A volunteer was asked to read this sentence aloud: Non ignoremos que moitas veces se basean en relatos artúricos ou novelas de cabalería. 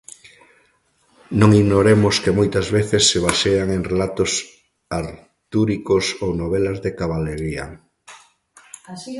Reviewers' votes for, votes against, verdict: 0, 2, rejected